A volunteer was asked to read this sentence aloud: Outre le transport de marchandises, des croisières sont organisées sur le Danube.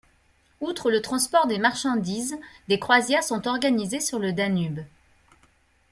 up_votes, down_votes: 0, 2